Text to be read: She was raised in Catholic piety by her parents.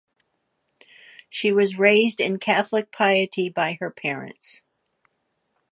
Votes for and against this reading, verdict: 2, 0, accepted